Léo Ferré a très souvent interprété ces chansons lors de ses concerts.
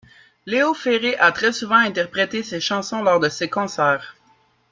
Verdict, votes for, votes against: accepted, 3, 0